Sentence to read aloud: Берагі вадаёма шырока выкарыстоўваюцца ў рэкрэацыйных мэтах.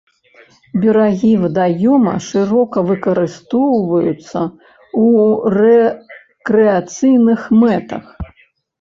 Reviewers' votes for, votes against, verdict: 0, 2, rejected